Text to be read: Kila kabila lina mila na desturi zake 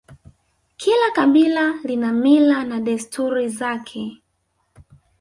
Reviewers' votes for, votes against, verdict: 1, 2, rejected